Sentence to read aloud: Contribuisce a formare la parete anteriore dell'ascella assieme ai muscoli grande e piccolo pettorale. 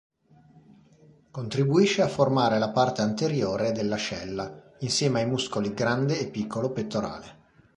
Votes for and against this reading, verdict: 0, 2, rejected